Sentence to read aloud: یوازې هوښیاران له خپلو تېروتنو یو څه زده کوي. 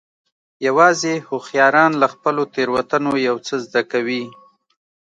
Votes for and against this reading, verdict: 2, 0, accepted